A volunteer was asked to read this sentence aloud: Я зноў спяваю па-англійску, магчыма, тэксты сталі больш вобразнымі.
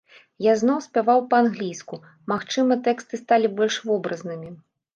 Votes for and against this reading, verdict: 1, 2, rejected